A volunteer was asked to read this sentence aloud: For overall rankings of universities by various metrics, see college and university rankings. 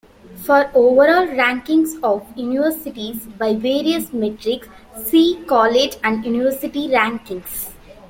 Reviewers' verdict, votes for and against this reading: rejected, 0, 2